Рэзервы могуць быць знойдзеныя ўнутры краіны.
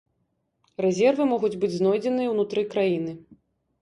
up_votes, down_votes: 2, 0